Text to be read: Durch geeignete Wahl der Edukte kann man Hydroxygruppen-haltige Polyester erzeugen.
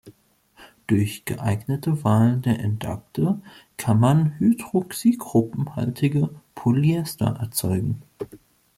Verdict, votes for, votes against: rejected, 0, 2